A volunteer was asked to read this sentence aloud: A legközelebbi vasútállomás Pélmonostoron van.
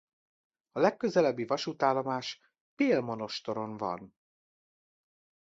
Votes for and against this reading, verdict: 2, 0, accepted